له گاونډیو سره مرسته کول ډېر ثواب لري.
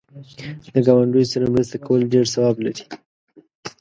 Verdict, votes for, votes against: accepted, 2, 0